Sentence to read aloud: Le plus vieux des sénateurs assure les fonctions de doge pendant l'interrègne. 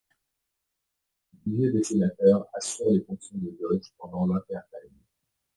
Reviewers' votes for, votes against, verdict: 0, 2, rejected